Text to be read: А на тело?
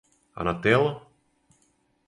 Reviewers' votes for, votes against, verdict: 4, 0, accepted